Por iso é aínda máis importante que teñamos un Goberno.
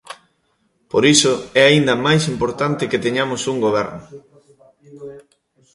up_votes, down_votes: 0, 2